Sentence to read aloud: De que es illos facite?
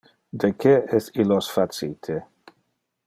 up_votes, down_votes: 2, 0